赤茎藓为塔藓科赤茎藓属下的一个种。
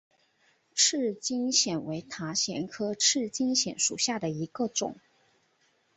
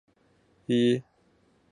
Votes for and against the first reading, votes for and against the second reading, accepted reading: 2, 0, 0, 2, first